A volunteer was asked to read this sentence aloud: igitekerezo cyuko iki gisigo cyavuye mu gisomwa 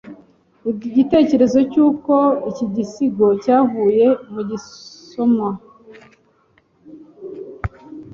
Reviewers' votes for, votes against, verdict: 1, 2, rejected